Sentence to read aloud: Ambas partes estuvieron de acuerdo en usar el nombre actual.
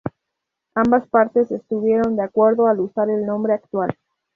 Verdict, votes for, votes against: rejected, 0, 2